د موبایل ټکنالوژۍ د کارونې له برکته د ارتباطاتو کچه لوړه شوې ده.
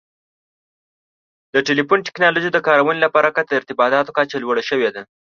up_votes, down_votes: 1, 2